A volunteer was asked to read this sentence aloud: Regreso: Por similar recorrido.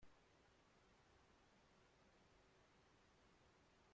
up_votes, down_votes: 0, 2